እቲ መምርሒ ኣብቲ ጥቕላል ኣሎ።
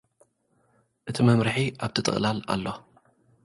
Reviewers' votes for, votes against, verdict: 2, 0, accepted